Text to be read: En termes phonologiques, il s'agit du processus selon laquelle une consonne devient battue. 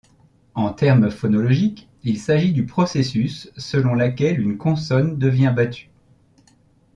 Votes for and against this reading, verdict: 2, 0, accepted